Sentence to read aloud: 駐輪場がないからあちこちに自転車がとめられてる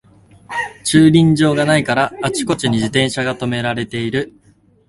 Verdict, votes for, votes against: rejected, 0, 2